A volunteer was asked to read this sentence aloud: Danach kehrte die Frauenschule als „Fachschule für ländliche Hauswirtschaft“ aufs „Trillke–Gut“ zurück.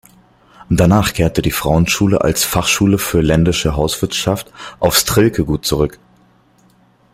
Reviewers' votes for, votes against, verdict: 1, 2, rejected